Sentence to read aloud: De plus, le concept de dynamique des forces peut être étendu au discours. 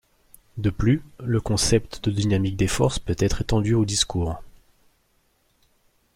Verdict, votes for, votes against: rejected, 1, 2